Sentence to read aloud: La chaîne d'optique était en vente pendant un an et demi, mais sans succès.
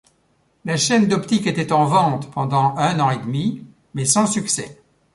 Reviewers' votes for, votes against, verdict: 1, 2, rejected